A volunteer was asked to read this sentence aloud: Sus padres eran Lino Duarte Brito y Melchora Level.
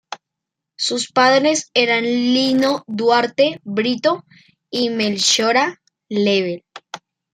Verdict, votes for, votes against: rejected, 1, 2